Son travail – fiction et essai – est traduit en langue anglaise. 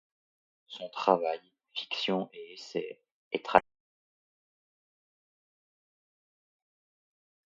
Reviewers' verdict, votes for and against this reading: rejected, 0, 2